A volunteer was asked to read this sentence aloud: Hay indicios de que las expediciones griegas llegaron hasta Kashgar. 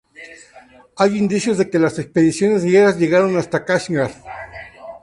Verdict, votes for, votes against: accepted, 2, 0